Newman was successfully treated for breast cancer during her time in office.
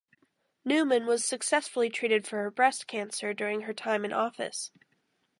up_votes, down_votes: 2, 0